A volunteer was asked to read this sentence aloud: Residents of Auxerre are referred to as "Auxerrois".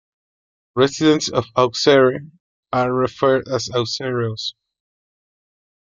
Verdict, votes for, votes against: rejected, 0, 2